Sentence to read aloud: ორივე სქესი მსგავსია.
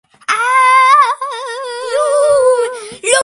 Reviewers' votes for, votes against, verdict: 0, 2, rejected